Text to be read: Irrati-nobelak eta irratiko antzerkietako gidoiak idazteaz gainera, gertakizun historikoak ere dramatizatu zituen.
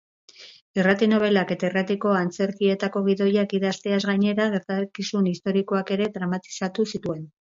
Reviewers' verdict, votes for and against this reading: accepted, 4, 0